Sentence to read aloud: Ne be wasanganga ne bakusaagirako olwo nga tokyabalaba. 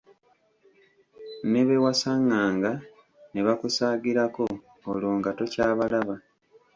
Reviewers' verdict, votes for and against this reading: rejected, 0, 2